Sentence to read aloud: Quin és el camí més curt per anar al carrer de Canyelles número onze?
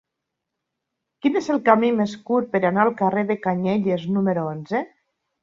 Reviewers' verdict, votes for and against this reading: accepted, 3, 0